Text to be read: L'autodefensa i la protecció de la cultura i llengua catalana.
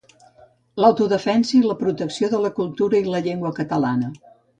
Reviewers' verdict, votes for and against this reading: rejected, 0, 2